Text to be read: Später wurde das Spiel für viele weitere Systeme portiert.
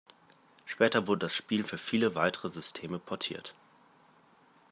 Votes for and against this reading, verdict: 2, 0, accepted